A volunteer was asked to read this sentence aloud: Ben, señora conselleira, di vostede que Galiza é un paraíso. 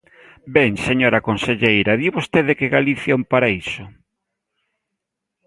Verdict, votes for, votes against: rejected, 0, 2